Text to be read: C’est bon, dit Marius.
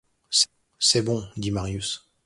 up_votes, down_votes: 1, 2